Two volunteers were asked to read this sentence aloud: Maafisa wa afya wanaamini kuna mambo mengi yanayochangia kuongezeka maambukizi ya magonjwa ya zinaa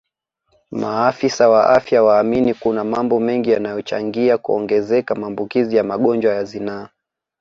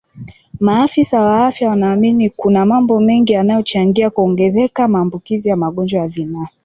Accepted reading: second